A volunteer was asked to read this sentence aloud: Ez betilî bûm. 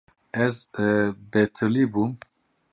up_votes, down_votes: 0, 2